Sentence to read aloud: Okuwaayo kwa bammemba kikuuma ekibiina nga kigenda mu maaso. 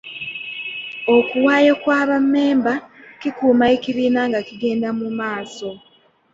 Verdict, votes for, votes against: rejected, 1, 2